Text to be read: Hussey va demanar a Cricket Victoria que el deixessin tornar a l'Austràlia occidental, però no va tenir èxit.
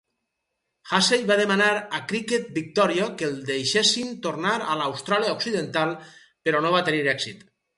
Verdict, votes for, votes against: accepted, 4, 0